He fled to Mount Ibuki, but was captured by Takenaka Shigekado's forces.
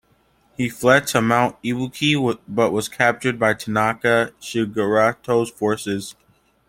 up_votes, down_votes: 0, 2